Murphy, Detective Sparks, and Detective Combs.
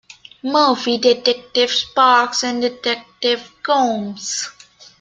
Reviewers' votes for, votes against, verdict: 1, 2, rejected